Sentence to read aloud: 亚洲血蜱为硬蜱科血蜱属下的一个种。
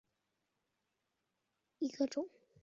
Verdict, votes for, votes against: rejected, 0, 2